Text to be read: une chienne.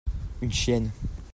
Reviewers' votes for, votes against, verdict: 2, 0, accepted